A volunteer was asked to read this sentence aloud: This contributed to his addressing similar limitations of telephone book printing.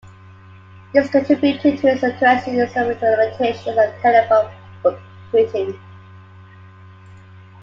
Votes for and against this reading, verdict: 1, 2, rejected